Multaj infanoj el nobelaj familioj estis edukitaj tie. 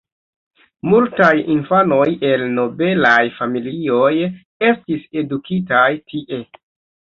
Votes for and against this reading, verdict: 2, 0, accepted